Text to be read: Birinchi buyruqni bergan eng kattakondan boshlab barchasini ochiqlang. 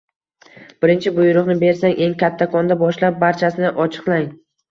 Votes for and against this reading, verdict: 0, 2, rejected